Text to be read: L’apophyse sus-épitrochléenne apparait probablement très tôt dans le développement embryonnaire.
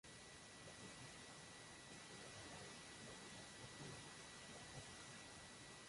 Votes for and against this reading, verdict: 0, 2, rejected